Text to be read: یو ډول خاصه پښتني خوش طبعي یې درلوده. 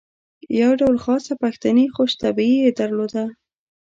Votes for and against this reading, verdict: 2, 0, accepted